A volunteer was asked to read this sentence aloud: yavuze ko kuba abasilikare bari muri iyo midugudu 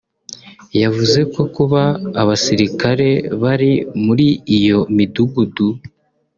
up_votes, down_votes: 2, 0